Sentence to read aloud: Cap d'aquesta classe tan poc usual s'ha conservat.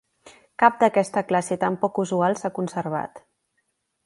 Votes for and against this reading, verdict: 2, 0, accepted